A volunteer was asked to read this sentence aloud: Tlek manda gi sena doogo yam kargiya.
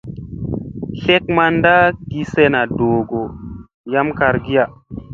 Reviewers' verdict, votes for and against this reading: accepted, 2, 0